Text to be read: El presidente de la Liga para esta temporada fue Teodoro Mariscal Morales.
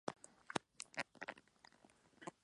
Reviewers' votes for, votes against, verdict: 0, 4, rejected